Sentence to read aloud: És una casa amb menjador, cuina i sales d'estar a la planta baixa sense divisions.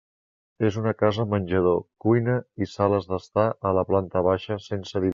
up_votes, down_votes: 0, 2